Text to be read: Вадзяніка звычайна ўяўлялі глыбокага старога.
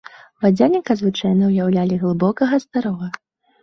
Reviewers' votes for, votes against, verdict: 2, 0, accepted